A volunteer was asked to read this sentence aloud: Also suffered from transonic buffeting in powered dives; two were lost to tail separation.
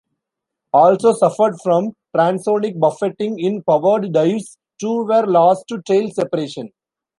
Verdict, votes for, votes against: rejected, 1, 2